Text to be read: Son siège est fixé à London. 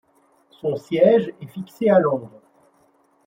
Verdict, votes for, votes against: rejected, 1, 2